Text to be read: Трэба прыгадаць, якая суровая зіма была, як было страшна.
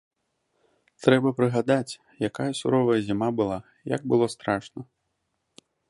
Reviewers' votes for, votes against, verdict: 2, 0, accepted